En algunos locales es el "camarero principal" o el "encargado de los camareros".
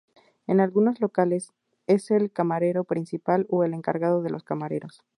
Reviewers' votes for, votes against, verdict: 2, 0, accepted